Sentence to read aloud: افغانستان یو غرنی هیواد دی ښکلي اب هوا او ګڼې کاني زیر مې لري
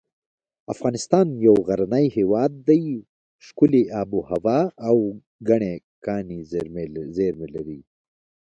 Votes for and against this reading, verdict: 2, 0, accepted